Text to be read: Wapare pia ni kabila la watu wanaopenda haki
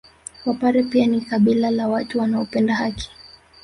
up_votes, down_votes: 1, 2